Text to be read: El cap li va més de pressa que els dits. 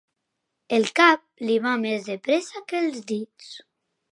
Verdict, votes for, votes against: accepted, 4, 0